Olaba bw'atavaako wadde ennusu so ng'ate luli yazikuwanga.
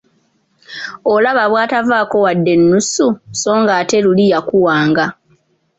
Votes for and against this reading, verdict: 2, 0, accepted